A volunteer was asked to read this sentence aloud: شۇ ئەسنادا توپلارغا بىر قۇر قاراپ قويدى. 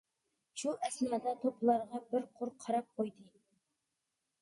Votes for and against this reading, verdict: 1, 2, rejected